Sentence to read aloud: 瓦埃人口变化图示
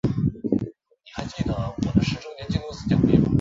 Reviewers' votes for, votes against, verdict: 0, 2, rejected